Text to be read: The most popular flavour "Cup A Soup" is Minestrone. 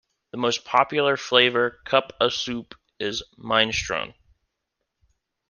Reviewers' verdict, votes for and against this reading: rejected, 0, 2